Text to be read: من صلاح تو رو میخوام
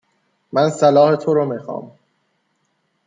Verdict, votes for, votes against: accepted, 2, 0